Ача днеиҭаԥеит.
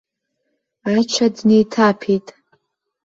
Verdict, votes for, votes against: rejected, 1, 2